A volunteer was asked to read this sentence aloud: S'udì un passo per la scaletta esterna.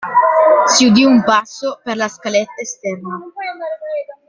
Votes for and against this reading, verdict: 2, 1, accepted